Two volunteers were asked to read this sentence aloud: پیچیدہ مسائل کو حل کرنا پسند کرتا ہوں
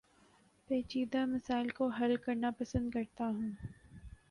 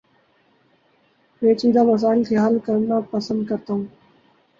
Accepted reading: first